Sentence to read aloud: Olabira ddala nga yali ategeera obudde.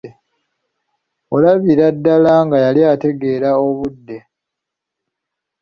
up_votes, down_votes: 2, 0